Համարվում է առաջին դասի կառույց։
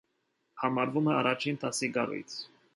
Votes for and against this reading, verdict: 2, 0, accepted